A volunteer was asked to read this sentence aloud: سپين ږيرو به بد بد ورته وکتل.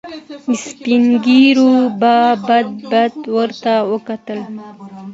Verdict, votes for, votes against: accepted, 2, 0